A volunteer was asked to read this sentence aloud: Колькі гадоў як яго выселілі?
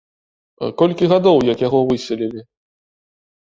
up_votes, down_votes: 2, 0